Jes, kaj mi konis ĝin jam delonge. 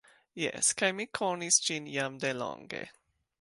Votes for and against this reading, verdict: 2, 0, accepted